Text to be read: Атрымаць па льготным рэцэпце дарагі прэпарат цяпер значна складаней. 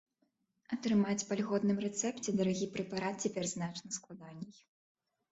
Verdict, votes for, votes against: accepted, 2, 0